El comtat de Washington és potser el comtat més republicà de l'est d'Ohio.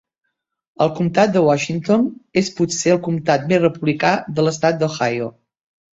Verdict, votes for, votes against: rejected, 1, 2